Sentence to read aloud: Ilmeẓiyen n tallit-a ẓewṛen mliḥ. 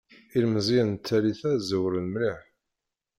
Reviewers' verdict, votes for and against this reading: rejected, 0, 2